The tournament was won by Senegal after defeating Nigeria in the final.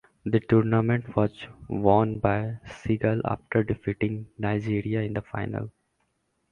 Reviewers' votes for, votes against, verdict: 0, 2, rejected